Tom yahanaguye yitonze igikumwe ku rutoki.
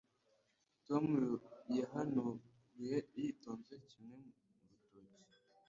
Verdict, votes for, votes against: rejected, 1, 2